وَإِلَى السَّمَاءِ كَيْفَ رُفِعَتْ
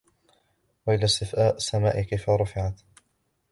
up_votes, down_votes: 0, 2